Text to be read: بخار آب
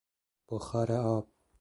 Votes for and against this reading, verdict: 2, 0, accepted